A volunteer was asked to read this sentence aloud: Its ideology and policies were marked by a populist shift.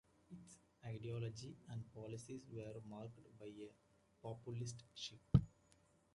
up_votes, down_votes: 0, 2